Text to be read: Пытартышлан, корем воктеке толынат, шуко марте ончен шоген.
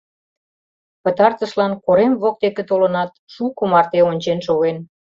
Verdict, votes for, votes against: accepted, 2, 0